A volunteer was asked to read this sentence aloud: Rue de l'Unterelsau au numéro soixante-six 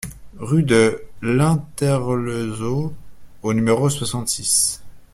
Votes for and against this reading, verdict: 0, 2, rejected